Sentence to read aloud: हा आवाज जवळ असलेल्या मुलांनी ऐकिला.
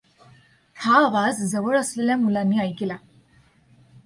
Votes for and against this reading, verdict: 2, 0, accepted